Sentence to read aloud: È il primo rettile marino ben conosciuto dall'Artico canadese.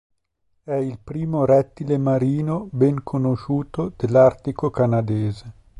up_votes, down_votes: 1, 2